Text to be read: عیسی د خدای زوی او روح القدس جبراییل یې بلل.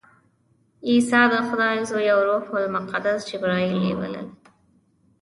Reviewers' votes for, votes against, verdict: 1, 2, rejected